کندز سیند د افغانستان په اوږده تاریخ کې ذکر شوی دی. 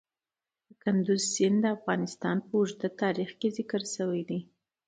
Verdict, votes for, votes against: accepted, 2, 0